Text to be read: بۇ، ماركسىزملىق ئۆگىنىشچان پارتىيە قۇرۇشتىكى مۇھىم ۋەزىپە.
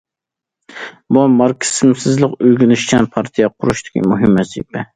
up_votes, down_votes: 0, 2